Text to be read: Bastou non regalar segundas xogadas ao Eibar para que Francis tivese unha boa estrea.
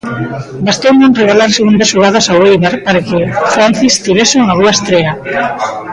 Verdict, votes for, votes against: rejected, 0, 2